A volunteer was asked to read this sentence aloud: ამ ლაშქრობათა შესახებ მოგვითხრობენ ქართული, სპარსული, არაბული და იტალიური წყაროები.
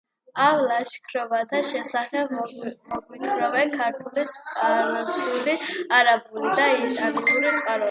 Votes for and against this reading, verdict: 2, 0, accepted